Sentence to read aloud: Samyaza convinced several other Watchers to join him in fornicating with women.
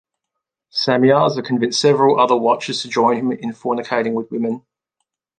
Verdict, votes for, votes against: accepted, 2, 0